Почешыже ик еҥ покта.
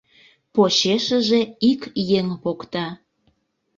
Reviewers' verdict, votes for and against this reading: accepted, 2, 0